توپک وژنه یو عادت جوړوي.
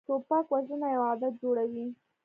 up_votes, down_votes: 1, 2